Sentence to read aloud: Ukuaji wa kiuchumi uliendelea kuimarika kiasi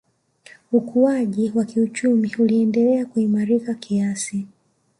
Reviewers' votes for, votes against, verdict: 0, 2, rejected